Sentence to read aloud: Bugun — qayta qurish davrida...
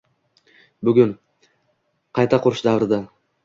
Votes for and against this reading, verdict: 2, 1, accepted